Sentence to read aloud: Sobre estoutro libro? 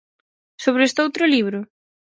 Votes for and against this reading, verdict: 4, 0, accepted